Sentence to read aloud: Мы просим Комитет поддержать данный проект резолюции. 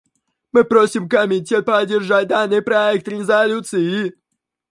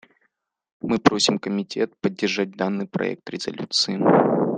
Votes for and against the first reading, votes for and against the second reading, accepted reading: 0, 2, 2, 0, second